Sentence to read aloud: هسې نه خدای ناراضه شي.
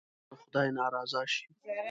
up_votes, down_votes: 1, 2